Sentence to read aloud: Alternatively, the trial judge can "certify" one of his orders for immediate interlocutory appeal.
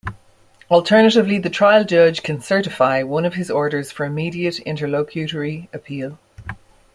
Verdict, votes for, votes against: accepted, 2, 0